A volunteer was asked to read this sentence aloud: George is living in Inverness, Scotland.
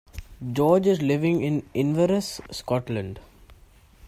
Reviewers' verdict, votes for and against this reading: accepted, 2, 1